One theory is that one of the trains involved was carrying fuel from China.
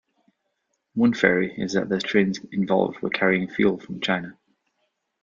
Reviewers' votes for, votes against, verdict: 0, 2, rejected